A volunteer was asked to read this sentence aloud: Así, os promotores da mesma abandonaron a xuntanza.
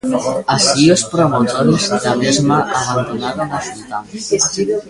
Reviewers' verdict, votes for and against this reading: rejected, 0, 3